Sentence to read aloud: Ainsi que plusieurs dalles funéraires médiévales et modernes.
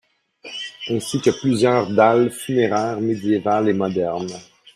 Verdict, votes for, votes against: rejected, 1, 2